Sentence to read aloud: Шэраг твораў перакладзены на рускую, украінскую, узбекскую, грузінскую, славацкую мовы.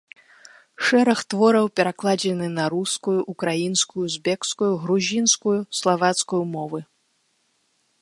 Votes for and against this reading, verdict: 3, 0, accepted